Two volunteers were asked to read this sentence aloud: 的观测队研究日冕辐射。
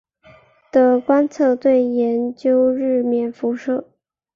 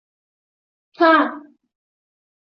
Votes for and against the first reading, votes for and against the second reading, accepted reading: 3, 0, 0, 2, first